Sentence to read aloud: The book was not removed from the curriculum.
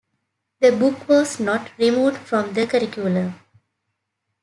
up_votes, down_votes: 2, 0